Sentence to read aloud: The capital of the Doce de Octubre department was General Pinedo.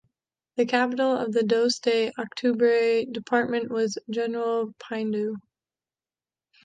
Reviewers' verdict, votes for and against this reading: rejected, 1, 2